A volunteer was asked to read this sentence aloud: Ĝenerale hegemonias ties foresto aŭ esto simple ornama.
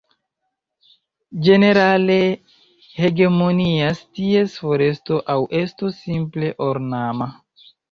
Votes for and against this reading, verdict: 1, 2, rejected